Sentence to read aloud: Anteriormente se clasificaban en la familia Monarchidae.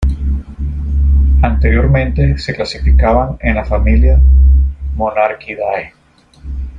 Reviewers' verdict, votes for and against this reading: rejected, 1, 2